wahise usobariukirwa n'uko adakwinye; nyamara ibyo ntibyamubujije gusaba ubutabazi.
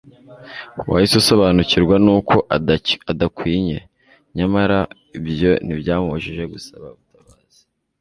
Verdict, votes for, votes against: rejected, 0, 2